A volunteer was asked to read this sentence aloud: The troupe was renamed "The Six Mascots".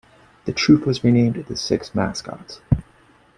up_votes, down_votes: 2, 1